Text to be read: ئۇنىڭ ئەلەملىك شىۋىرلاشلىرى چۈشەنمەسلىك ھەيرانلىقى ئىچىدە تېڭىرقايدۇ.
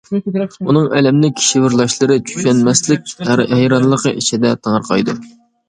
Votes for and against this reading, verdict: 0, 2, rejected